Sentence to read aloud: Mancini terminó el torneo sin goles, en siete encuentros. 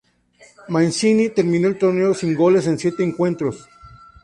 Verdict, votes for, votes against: rejected, 0, 2